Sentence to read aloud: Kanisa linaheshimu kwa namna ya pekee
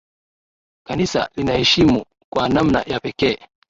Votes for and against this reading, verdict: 1, 2, rejected